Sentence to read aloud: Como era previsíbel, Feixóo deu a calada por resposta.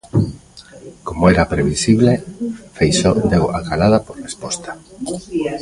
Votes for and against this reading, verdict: 0, 2, rejected